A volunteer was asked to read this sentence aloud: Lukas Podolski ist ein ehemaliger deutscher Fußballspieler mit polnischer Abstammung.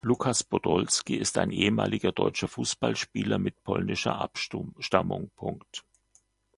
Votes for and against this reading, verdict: 0, 2, rejected